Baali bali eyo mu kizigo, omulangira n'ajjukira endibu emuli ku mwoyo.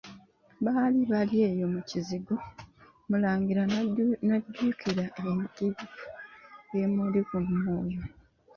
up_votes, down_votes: 0, 2